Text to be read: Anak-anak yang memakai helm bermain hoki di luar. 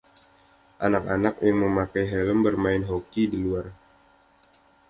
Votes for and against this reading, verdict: 2, 0, accepted